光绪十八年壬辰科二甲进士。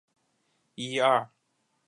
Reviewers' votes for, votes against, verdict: 0, 2, rejected